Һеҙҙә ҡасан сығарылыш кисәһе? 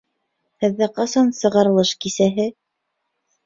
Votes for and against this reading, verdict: 2, 0, accepted